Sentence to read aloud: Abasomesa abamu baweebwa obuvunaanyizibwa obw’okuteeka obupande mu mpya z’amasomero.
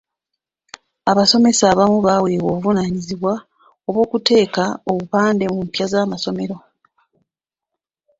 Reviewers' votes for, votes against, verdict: 2, 1, accepted